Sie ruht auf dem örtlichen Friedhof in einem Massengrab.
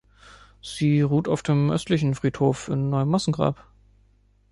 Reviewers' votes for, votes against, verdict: 1, 2, rejected